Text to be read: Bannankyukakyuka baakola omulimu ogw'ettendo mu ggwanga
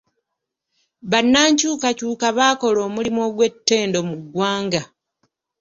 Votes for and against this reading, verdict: 2, 0, accepted